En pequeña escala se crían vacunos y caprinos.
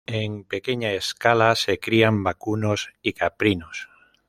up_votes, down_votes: 2, 0